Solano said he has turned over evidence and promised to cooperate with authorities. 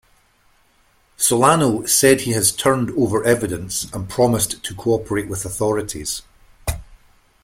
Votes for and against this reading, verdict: 2, 0, accepted